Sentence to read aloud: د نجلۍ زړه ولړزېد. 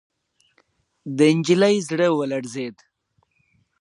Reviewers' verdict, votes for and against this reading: accepted, 2, 0